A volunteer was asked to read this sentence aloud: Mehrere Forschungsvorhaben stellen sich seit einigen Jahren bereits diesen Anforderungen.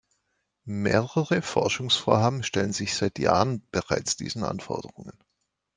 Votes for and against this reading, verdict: 0, 2, rejected